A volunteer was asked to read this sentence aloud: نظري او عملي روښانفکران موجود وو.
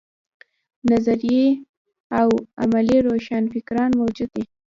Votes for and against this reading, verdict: 1, 2, rejected